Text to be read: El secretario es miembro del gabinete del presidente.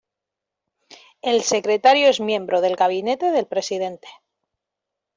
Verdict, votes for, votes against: accepted, 2, 0